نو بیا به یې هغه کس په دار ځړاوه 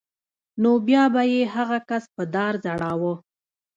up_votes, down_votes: 2, 0